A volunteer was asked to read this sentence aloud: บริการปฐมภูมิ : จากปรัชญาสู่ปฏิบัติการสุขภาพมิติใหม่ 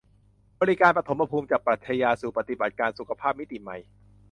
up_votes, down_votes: 2, 0